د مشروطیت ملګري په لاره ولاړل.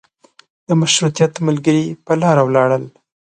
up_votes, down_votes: 2, 0